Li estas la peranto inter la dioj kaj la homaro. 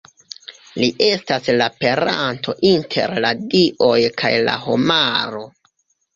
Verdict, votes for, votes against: accepted, 2, 1